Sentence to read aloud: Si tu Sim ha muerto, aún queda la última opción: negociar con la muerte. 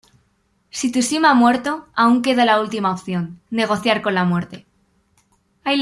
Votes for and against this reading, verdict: 1, 2, rejected